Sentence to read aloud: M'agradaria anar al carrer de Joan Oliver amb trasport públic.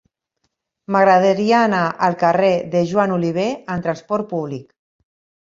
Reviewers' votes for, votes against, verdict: 3, 0, accepted